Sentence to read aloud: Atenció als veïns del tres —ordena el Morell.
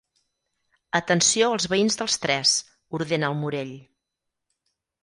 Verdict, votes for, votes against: rejected, 0, 4